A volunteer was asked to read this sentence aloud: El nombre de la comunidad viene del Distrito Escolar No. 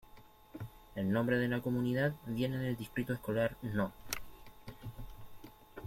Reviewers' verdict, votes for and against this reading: accepted, 2, 0